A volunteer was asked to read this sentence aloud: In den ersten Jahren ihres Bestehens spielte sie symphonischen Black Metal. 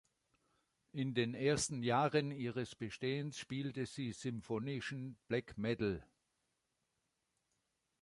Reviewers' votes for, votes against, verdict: 2, 0, accepted